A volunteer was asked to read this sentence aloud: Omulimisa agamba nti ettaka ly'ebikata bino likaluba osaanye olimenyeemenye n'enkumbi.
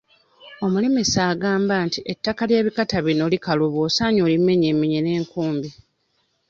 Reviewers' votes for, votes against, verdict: 2, 0, accepted